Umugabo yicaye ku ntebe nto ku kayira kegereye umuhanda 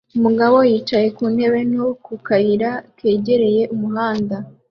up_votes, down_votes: 2, 0